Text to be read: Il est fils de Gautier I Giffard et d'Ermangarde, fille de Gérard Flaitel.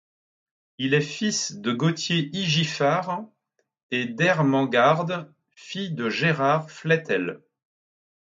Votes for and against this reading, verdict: 0, 2, rejected